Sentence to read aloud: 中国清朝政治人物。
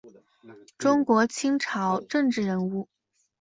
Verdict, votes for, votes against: accepted, 2, 0